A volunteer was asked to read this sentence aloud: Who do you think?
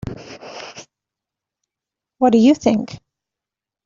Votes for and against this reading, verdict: 1, 2, rejected